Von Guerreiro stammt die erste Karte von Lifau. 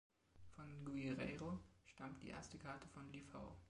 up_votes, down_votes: 2, 1